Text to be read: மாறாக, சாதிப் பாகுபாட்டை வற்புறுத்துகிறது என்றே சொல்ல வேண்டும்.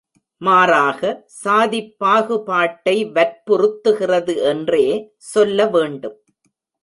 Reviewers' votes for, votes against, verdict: 1, 2, rejected